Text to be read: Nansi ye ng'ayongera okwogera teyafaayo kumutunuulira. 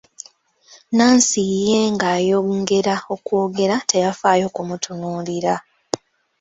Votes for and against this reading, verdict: 2, 0, accepted